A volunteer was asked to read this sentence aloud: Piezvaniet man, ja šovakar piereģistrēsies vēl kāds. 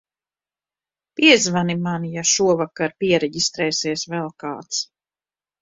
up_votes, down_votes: 0, 2